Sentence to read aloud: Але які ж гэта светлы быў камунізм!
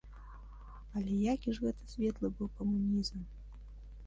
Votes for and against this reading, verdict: 0, 2, rejected